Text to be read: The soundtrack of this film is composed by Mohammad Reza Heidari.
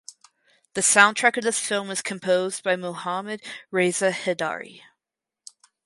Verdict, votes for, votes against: rejected, 2, 2